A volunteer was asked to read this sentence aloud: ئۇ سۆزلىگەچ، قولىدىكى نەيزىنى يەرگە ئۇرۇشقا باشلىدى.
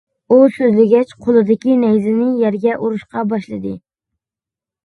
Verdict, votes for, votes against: accepted, 2, 0